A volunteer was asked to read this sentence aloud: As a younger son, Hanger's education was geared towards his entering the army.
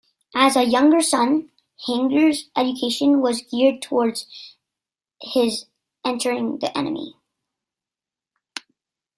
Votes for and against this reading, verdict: 0, 2, rejected